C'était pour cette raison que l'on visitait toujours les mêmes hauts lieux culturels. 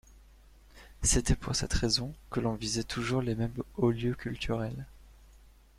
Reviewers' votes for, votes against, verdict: 0, 2, rejected